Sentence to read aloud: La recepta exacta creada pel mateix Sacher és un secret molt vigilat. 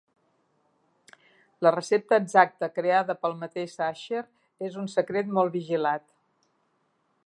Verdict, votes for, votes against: accepted, 3, 0